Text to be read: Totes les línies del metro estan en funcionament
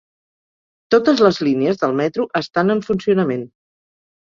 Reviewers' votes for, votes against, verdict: 3, 0, accepted